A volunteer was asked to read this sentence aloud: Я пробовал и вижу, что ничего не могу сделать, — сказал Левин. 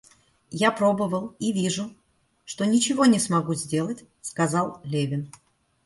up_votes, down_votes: 0, 2